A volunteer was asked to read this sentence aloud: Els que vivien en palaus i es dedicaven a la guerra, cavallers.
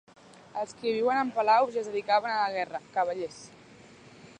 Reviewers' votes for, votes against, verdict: 1, 5, rejected